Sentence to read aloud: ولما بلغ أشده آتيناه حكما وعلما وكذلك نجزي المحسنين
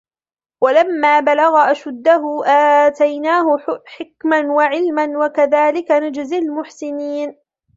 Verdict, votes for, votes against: rejected, 1, 2